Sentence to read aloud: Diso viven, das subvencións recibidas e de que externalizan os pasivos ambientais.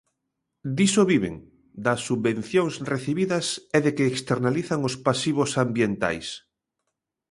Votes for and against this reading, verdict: 2, 0, accepted